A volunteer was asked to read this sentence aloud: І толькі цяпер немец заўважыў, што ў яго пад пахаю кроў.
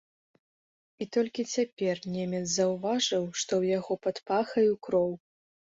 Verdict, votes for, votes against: accepted, 2, 0